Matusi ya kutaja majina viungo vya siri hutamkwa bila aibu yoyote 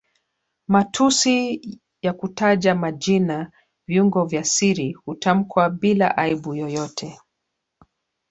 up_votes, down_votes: 1, 2